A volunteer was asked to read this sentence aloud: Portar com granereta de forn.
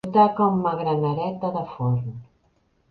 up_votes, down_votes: 1, 2